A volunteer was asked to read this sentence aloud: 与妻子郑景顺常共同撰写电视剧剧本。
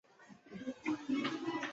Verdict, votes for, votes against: rejected, 2, 4